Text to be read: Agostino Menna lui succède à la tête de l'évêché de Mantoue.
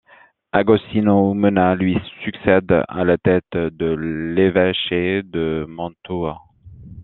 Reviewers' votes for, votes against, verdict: 1, 2, rejected